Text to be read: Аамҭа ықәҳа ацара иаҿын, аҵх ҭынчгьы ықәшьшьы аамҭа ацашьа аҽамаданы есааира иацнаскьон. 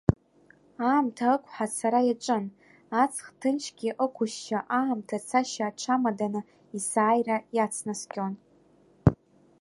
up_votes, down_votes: 0, 2